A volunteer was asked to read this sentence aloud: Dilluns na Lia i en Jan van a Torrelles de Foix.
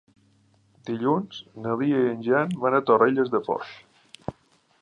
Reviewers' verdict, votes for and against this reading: accepted, 2, 0